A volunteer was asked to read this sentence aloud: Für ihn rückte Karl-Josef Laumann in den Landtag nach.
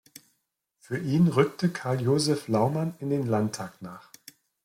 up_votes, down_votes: 2, 0